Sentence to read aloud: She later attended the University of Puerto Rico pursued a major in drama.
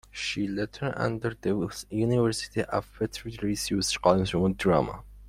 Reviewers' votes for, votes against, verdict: 1, 2, rejected